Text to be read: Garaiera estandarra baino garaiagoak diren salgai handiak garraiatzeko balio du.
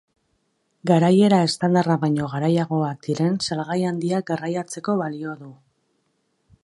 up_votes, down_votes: 4, 0